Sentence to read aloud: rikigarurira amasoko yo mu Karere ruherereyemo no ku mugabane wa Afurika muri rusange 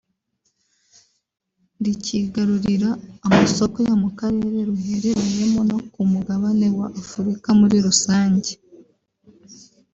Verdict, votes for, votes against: rejected, 0, 2